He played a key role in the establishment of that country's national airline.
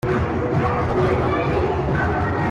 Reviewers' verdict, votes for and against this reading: rejected, 0, 2